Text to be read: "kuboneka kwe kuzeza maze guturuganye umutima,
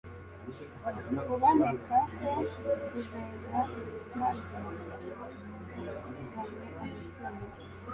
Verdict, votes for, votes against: rejected, 0, 2